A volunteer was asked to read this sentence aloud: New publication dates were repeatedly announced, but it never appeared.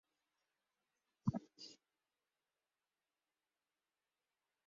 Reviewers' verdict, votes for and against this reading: rejected, 2, 2